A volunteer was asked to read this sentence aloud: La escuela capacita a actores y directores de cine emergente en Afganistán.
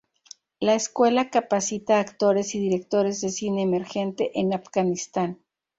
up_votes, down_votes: 2, 2